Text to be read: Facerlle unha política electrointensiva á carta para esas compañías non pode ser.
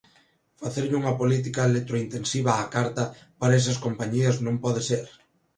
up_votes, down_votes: 2, 0